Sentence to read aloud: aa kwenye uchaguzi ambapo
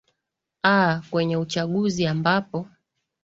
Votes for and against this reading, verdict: 2, 0, accepted